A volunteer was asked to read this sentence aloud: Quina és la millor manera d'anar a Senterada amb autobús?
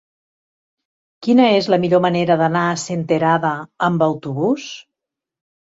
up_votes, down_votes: 3, 0